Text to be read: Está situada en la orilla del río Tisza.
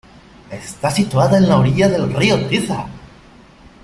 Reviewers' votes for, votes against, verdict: 0, 2, rejected